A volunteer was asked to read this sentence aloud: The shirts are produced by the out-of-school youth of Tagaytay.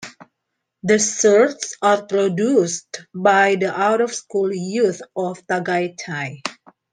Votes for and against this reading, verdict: 2, 1, accepted